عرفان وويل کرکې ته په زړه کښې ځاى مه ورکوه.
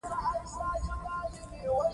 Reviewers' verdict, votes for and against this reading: rejected, 1, 2